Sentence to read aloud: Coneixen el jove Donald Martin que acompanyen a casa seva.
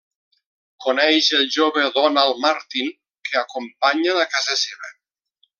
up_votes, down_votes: 1, 2